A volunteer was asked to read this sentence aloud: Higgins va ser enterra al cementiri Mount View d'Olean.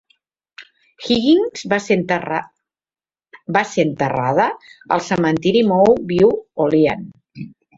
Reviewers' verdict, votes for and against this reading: rejected, 0, 2